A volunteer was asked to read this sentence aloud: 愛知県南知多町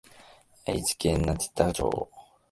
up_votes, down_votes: 1, 2